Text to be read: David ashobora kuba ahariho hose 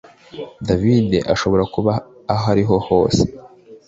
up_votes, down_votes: 2, 0